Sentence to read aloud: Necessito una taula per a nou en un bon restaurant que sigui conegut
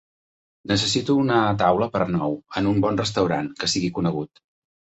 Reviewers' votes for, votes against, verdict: 3, 0, accepted